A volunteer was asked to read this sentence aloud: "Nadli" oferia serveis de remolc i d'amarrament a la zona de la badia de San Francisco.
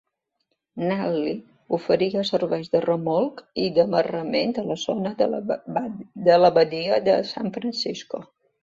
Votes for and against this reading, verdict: 0, 2, rejected